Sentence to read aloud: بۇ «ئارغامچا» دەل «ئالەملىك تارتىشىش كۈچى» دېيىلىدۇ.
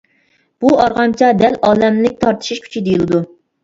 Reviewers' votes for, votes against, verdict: 2, 0, accepted